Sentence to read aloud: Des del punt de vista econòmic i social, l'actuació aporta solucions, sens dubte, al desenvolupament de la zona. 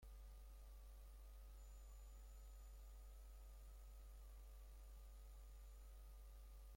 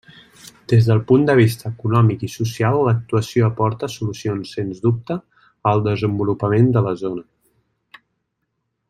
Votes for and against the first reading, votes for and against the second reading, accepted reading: 0, 2, 4, 0, second